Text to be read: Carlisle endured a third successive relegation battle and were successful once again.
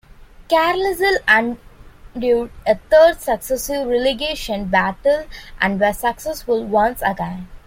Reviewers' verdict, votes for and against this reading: rejected, 0, 2